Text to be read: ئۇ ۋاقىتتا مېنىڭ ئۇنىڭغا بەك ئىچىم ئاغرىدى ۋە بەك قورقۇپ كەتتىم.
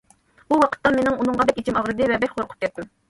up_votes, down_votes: 2, 0